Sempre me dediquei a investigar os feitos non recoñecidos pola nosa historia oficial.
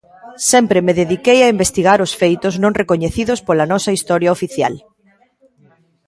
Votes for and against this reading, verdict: 2, 0, accepted